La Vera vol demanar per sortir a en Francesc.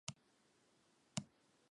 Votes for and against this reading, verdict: 0, 4, rejected